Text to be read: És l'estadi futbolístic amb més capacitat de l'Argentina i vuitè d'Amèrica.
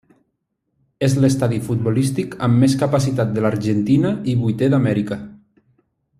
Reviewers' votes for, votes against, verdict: 2, 1, accepted